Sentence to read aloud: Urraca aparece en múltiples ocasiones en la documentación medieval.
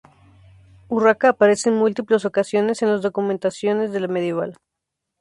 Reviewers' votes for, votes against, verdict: 0, 4, rejected